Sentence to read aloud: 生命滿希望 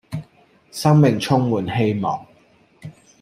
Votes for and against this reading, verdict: 0, 2, rejected